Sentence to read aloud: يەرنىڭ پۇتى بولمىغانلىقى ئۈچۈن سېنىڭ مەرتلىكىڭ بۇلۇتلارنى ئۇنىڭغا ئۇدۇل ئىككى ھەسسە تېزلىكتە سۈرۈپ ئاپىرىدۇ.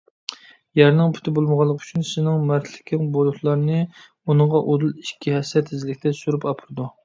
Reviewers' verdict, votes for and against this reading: accepted, 2, 0